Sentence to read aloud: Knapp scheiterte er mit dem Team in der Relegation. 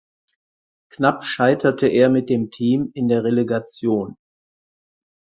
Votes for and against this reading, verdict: 4, 0, accepted